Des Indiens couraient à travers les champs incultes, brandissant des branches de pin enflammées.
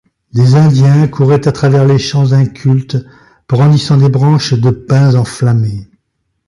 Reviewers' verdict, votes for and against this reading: rejected, 1, 2